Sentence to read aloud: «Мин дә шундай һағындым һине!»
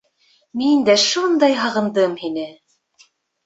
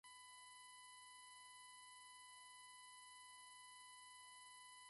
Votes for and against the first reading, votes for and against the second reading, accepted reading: 2, 0, 1, 3, first